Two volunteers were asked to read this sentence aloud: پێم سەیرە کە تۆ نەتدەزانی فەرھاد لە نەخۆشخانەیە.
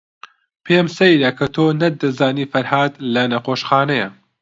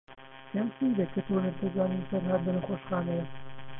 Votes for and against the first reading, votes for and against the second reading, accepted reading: 2, 0, 0, 4, first